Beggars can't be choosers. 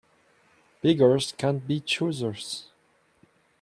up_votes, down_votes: 0, 2